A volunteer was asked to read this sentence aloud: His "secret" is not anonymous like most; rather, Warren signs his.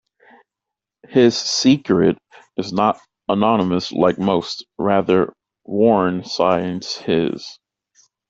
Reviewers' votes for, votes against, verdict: 2, 0, accepted